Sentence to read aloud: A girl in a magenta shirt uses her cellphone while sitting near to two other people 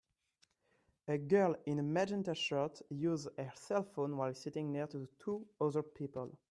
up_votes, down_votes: 0, 2